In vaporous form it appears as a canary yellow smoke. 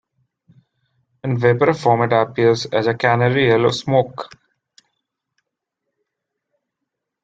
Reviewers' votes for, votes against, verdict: 2, 1, accepted